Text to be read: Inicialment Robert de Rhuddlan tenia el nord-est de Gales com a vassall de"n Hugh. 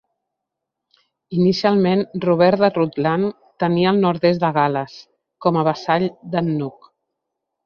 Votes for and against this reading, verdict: 1, 2, rejected